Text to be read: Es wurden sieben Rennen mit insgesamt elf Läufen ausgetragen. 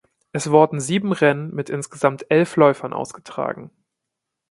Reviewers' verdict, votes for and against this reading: rejected, 1, 2